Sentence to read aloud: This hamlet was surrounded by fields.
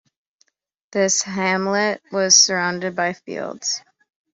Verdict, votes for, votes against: accepted, 2, 0